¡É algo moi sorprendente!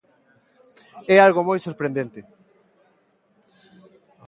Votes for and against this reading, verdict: 2, 0, accepted